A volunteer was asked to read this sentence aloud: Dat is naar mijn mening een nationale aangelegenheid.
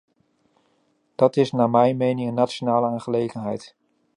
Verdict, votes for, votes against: accepted, 2, 0